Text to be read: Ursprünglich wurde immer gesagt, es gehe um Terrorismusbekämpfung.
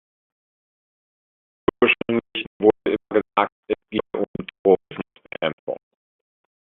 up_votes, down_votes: 0, 2